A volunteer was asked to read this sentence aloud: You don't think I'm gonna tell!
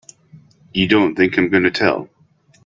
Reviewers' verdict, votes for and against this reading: accepted, 2, 0